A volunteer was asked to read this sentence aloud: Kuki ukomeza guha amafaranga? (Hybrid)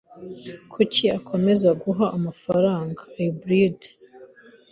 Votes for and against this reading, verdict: 1, 2, rejected